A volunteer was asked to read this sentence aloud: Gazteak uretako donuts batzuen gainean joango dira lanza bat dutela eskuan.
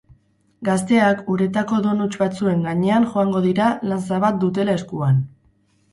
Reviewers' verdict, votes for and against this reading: rejected, 2, 2